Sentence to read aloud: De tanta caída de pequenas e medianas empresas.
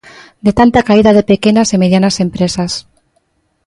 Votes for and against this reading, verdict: 2, 0, accepted